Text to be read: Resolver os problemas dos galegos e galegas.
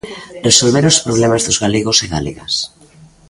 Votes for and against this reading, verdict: 2, 0, accepted